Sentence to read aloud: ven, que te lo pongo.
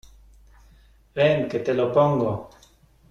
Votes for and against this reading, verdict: 2, 0, accepted